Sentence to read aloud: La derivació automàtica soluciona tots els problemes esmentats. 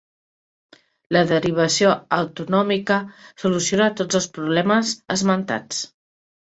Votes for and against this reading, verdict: 1, 2, rejected